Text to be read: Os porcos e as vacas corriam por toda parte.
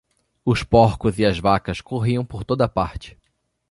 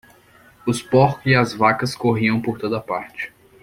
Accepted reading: first